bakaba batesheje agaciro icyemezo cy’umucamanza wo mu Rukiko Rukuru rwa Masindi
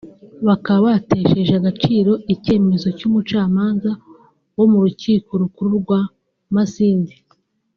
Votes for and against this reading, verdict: 2, 0, accepted